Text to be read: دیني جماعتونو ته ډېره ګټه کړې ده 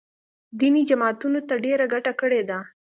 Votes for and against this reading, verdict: 3, 0, accepted